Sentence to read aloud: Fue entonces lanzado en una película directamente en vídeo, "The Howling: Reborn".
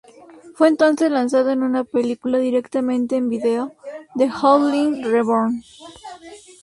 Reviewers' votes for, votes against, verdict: 2, 0, accepted